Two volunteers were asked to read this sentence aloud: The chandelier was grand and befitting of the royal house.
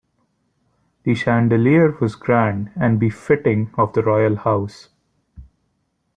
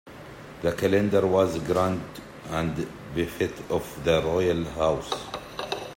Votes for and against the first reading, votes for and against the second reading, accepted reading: 2, 1, 1, 2, first